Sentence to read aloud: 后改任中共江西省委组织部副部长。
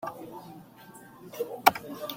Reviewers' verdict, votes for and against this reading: rejected, 0, 2